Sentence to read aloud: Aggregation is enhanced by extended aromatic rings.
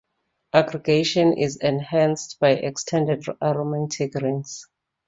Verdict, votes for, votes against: accepted, 2, 0